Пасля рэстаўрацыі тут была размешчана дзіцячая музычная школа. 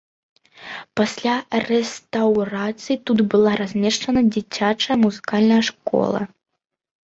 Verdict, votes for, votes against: rejected, 1, 2